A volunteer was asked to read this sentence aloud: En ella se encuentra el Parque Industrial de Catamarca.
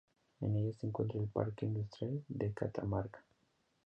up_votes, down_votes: 2, 1